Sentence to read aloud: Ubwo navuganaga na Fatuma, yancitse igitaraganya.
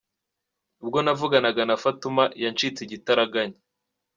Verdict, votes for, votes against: accepted, 2, 1